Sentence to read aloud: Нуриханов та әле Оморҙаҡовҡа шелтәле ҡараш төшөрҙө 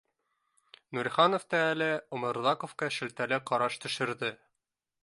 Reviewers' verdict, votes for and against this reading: accepted, 3, 0